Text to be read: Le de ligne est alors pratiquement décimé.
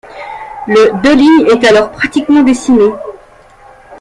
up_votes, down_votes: 1, 2